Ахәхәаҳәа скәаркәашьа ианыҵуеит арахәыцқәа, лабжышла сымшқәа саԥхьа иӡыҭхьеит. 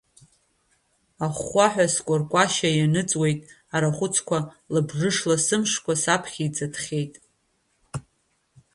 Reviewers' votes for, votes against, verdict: 2, 0, accepted